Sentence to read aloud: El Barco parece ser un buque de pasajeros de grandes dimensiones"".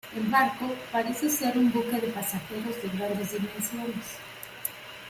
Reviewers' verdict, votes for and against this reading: accepted, 2, 0